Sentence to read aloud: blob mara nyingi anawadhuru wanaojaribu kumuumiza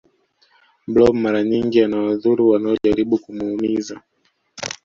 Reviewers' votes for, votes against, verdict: 2, 0, accepted